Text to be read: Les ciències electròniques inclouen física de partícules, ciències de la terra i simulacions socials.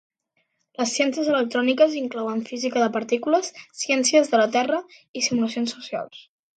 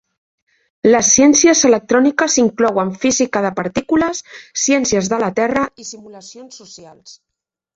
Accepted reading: first